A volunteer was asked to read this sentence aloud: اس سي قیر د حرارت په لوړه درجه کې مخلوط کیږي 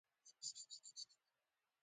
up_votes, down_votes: 0, 2